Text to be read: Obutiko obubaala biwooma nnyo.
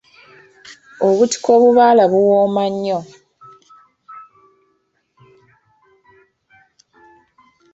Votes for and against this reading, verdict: 0, 2, rejected